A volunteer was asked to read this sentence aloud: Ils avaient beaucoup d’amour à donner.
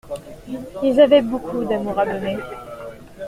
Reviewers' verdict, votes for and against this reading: accepted, 2, 1